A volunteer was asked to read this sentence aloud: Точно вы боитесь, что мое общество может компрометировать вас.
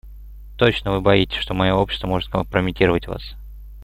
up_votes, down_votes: 2, 1